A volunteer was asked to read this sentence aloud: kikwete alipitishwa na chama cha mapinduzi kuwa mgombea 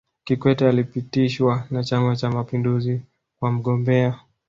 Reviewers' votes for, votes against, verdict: 2, 0, accepted